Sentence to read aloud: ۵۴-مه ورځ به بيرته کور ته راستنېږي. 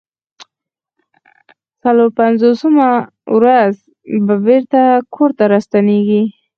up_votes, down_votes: 0, 2